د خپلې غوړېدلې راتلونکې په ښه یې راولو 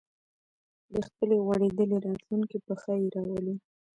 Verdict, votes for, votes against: accepted, 3, 0